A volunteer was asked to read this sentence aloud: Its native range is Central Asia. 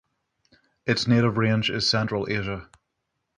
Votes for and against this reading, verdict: 3, 3, rejected